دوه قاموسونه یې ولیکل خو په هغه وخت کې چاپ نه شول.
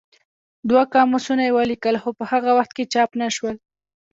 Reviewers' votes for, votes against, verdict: 0, 2, rejected